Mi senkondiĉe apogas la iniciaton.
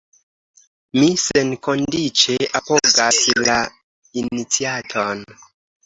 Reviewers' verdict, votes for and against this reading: accepted, 2, 1